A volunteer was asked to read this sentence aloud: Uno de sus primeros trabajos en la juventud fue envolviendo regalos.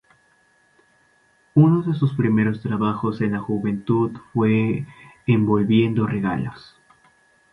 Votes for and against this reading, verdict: 0, 2, rejected